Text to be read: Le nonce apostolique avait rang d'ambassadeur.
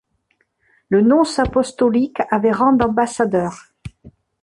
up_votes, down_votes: 2, 0